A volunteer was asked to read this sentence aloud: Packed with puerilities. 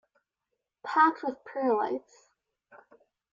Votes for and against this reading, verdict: 1, 2, rejected